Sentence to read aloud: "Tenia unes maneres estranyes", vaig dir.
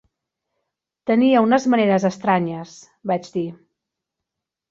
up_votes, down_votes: 3, 0